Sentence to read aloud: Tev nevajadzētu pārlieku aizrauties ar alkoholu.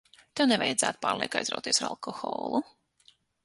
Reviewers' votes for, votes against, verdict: 0, 6, rejected